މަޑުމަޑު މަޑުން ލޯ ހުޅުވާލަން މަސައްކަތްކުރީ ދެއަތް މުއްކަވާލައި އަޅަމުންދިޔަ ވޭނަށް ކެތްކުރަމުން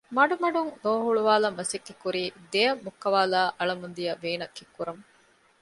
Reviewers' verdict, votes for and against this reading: accepted, 2, 0